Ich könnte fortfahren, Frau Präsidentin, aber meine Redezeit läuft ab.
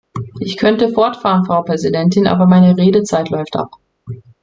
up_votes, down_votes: 2, 0